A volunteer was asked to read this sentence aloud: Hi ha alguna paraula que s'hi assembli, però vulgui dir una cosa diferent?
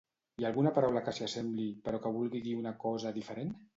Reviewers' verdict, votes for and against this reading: rejected, 0, 2